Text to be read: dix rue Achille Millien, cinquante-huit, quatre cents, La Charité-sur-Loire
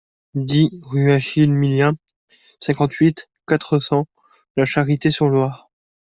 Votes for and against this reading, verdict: 2, 0, accepted